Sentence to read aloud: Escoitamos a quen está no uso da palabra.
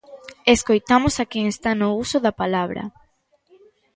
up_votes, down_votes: 3, 0